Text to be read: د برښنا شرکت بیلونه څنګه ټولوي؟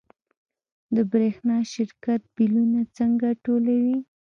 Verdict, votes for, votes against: accepted, 2, 0